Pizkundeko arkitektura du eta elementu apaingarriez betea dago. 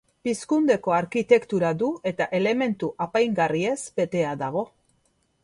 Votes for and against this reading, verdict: 2, 1, accepted